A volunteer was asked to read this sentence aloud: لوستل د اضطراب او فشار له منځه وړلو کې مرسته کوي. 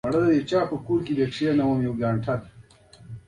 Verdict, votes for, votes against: rejected, 0, 2